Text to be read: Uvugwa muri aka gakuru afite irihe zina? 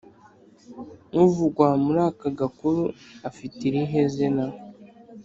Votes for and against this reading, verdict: 4, 0, accepted